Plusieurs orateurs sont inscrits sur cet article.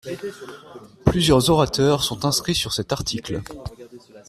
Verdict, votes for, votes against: accepted, 2, 0